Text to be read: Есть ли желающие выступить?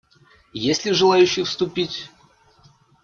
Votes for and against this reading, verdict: 0, 2, rejected